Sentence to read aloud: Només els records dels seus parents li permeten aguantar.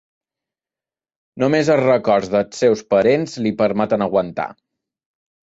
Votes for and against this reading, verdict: 2, 0, accepted